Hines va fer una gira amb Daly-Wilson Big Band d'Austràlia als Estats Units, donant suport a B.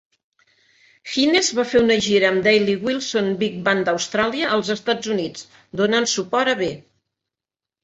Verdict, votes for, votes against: accepted, 2, 0